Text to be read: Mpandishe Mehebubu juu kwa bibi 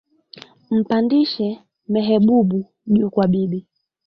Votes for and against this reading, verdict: 0, 2, rejected